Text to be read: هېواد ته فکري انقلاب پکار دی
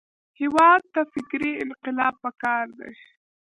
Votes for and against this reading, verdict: 1, 2, rejected